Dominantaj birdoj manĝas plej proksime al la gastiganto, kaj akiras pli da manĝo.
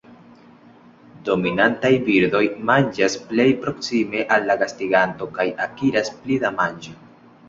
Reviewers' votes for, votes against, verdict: 1, 2, rejected